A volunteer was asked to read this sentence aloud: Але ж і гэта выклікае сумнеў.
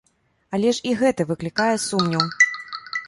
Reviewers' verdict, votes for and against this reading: rejected, 1, 2